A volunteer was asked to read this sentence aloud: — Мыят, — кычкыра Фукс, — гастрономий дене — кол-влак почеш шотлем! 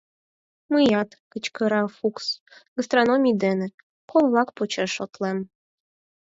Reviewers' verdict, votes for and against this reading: accepted, 4, 0